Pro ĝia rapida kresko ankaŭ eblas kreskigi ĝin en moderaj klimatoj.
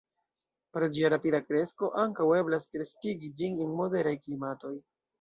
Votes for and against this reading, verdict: 1, 2, rejected